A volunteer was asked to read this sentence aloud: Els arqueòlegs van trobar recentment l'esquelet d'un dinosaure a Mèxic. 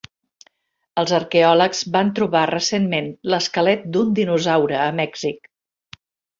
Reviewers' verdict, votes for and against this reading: accepted, 2, 0